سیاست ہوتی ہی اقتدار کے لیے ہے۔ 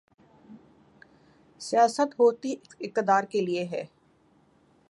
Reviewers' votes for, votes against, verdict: 12, 5, accepted